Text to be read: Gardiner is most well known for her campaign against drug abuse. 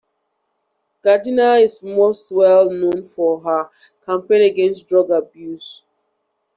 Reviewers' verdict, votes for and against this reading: accepted, 2, 0